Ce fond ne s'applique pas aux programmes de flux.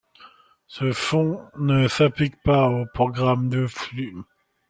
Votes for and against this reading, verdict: 2, 1, accepted